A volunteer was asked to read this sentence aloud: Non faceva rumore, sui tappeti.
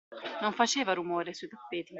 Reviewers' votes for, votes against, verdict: 2, 0, accepted